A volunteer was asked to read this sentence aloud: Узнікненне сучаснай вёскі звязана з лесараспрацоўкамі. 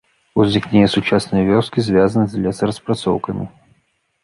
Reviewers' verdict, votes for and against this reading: rejected, 0, 2